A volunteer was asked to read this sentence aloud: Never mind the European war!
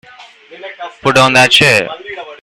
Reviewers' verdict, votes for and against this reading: rejected, 1, 2